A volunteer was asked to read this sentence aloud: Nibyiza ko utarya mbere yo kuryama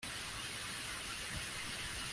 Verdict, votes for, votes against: rejected, 0, 2